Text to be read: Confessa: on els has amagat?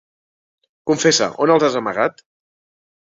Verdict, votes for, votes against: accepted, 2, 0